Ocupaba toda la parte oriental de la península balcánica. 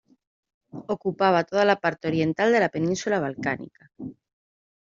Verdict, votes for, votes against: accepted, 2, 0